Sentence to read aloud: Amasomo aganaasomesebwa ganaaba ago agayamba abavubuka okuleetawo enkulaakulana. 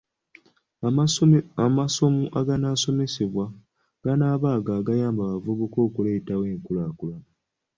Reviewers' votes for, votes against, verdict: 1, 2, rejected